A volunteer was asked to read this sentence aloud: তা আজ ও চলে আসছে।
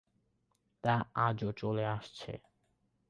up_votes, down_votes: 16, 0